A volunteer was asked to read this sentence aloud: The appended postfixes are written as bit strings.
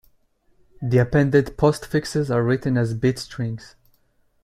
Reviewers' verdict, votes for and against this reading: accepted, 2, 0